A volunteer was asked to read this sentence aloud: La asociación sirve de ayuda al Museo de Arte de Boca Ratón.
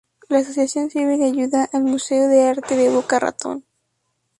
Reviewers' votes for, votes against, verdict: 2, 2, rejected